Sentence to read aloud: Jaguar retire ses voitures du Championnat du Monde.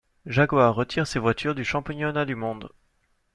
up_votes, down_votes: 1, 2